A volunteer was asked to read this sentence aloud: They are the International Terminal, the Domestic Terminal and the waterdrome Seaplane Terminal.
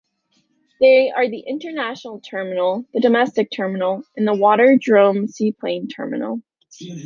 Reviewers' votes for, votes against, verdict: 2, 0, accepted